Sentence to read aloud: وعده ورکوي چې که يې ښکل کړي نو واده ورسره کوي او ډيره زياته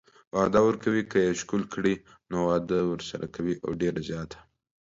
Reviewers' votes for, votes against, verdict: 2, 0, accepted